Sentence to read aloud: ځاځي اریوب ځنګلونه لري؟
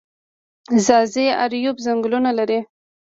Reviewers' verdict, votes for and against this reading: accepted, 2, 0